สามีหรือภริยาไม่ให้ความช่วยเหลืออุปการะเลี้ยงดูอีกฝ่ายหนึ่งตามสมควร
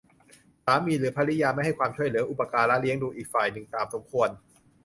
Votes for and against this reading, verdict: 2, 0, accepted